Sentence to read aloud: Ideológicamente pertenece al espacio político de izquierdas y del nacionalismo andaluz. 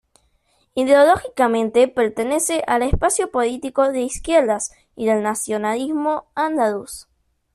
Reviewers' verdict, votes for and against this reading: rejected, 0, 3